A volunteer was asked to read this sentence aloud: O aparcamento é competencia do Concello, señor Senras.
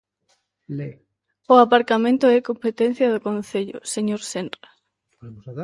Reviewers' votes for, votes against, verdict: 0, 2, rejected